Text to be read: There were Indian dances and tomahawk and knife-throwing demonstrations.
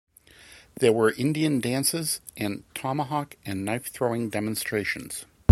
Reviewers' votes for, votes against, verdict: 2, 0, accepted